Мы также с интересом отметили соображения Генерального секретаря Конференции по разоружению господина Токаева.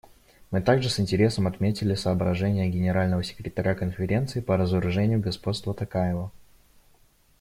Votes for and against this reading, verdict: 0, 2, rejected